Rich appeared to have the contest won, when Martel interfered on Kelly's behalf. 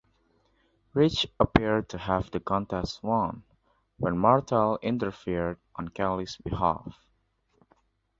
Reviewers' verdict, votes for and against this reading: accepted, 2, 0